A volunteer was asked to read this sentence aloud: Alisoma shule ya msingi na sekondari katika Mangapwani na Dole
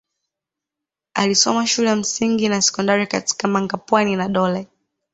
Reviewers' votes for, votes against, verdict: 2, 0, accepted